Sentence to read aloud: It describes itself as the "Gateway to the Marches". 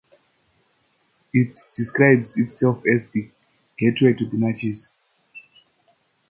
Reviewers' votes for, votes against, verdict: 0, 2, rejected